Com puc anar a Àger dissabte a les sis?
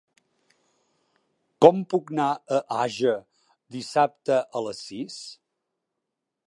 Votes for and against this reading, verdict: 0, 2, rejected